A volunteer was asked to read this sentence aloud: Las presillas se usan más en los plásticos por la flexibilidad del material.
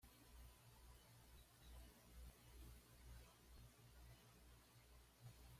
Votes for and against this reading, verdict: 1, 2, rejected